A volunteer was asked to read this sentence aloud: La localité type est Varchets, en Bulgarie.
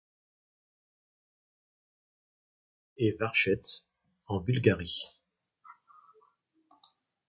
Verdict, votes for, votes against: rejected, 1, 2